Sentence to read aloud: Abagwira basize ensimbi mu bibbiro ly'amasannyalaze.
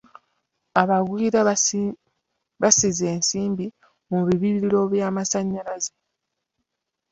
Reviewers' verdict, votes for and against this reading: rejected, 1, 2